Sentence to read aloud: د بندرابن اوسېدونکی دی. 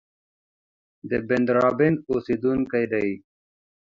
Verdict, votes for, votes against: accepted, 2, 0